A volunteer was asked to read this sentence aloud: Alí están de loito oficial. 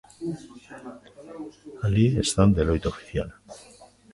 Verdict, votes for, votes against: rejected, 0, 2